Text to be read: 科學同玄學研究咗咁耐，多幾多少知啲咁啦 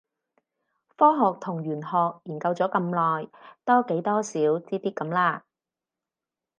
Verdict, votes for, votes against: rejected, 2, 2